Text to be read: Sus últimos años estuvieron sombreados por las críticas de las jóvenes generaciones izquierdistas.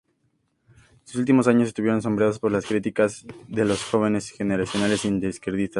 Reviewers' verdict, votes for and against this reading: rejected, 0, 2